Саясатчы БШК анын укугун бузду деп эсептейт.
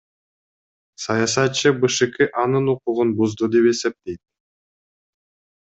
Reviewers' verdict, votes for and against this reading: accepted, 2, 0